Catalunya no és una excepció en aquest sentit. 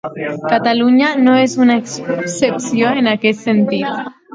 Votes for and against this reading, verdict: 0, 2, rejected